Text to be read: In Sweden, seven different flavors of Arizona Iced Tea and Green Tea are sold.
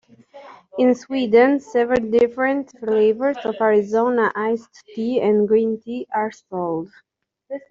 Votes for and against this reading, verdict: 2, 1, accepted